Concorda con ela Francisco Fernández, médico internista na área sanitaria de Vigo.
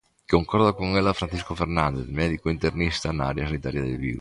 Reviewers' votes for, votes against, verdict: 2, 0, accepted